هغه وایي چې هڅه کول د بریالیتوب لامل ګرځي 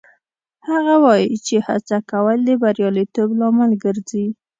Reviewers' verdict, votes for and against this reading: accepted, 2, 0